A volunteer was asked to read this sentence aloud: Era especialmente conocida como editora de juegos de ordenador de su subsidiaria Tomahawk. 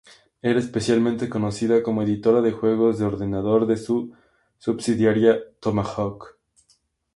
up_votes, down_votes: 4, 0